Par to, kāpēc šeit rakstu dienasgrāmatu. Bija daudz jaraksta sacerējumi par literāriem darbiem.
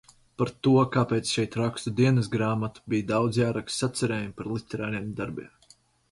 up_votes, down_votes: 2, 2